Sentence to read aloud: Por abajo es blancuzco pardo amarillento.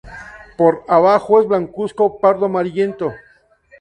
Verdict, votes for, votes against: accepted, 2, 0